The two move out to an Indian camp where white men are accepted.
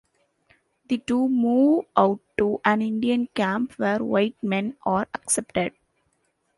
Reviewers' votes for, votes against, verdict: 0, 2, rejected